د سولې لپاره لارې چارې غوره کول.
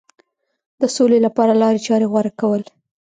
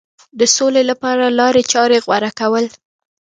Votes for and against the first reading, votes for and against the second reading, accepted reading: 0, 2, 2, 0, second